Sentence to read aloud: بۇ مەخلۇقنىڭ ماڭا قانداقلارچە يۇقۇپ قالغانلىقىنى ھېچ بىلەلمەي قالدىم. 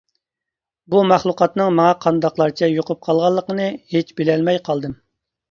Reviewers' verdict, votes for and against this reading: rejected, 0, 2